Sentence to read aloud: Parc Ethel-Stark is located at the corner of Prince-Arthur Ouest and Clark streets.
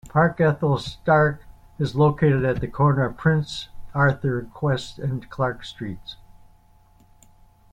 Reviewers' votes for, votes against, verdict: 0, 2, rejected